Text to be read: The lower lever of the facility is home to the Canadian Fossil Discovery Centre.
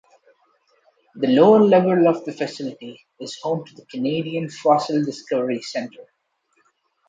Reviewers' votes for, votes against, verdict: 2, 1, accepted